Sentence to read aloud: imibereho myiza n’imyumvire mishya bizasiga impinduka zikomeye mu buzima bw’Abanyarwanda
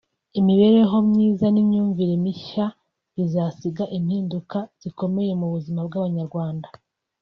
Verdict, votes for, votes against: accepted, 2, 0